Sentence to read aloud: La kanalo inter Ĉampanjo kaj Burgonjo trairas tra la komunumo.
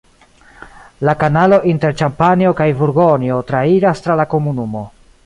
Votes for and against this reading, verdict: 2, 0, accepted